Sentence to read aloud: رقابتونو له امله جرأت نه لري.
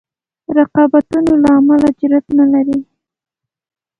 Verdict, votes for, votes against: accepted, 2, 0